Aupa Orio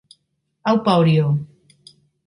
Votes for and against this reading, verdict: 3, 0, accepted